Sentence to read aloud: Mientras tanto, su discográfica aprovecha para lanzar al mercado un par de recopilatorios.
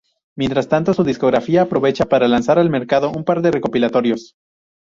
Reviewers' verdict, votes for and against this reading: rejected, 0, 4